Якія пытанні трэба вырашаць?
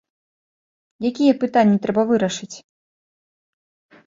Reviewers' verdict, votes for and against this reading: rejected, 0, 2